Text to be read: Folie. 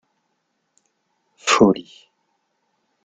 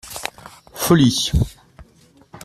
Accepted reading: second